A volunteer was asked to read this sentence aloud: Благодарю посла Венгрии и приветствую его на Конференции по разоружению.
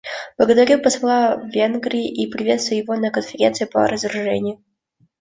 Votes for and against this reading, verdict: 2, 0, accepted